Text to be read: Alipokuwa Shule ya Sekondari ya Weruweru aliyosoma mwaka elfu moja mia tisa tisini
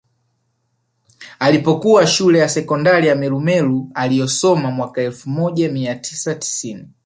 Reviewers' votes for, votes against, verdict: 3, 0, accepted